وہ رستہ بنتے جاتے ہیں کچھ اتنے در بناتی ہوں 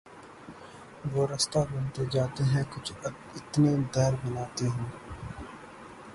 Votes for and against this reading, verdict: 3, 3, rejected